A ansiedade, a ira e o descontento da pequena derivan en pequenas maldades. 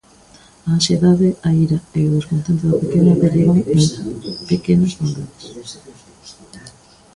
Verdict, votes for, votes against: rejected, 0, 2